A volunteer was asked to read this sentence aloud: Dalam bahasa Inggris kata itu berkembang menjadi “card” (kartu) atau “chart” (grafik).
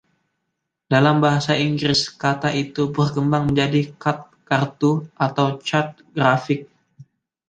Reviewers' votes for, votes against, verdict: 2, 0, accepted